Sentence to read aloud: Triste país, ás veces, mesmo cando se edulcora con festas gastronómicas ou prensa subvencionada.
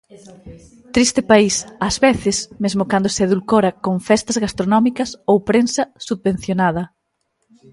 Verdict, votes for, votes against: accepted, 3, 1